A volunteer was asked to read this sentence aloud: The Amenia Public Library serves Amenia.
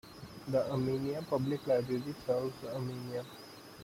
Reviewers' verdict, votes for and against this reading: rejected, 1, 2